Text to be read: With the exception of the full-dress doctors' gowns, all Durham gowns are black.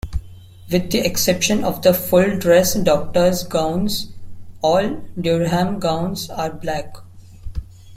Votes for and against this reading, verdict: 2, 0, accepted